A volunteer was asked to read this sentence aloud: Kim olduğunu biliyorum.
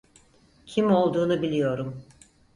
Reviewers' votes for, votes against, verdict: 4, 0, accepted